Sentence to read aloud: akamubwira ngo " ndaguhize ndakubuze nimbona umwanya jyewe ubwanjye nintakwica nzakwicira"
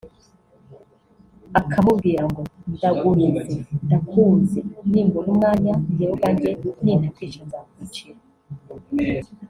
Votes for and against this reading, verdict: 1, 2, rejected